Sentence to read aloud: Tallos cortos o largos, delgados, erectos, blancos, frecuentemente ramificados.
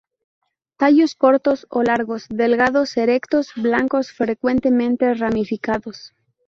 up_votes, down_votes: 2, 0